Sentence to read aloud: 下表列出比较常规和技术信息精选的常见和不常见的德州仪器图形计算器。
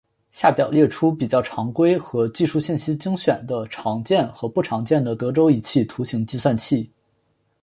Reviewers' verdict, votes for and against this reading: accepted, 2, 1